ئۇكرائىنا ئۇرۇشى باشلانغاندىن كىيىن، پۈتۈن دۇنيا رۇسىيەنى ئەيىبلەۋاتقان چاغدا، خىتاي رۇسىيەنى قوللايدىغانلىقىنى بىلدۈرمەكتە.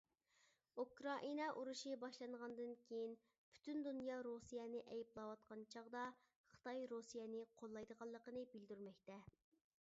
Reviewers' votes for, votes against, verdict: 1, 2, rejected